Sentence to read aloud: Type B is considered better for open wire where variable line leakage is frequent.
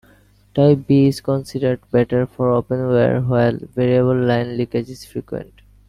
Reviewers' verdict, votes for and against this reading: rejected, 1, 2